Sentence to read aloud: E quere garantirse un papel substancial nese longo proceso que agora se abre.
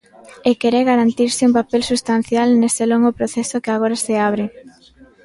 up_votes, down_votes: 1, 2